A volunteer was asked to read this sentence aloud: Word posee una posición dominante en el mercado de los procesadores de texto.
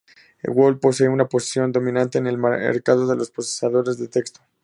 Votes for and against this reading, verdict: 0, 2, rejected